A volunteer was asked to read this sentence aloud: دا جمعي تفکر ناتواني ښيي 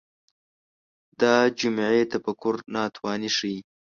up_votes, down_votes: 2, 0